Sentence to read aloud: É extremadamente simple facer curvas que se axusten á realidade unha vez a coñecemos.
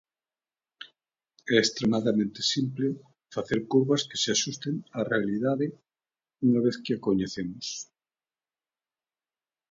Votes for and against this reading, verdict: 0, 2, rejected